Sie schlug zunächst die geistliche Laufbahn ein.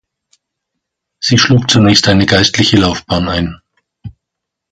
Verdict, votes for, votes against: rejected, 1, 2